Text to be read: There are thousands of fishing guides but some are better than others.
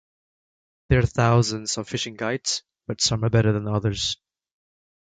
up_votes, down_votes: 2, 0